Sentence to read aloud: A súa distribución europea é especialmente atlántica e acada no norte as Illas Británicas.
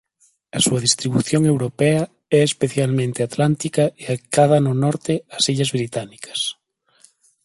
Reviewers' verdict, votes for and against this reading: accepted, 2, 0